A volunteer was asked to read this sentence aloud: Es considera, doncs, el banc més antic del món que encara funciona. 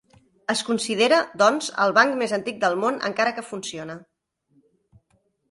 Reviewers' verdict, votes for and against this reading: rejected, 1, 3